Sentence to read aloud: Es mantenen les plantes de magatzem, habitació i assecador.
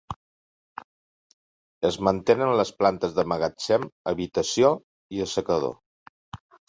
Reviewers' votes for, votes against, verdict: 2, 1, accepted